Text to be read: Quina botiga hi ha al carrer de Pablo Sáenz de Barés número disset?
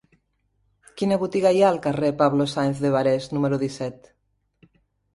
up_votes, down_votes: 2, 0